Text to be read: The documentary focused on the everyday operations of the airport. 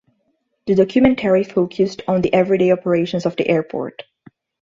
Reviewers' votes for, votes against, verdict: 2, 0, accepted